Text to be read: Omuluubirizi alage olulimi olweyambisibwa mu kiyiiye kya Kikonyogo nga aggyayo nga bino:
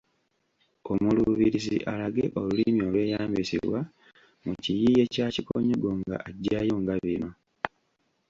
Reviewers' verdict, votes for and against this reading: accepted, 2, 1